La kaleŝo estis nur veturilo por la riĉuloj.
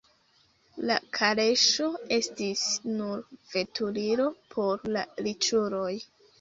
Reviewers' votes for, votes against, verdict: 2, 0, accepted